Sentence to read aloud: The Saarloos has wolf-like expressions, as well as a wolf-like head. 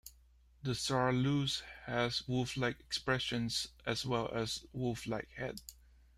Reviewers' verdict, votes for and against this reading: accepted, 2, 1